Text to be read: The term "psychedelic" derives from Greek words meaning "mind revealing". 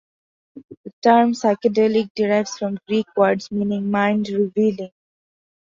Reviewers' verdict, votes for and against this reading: accepted, 2, 0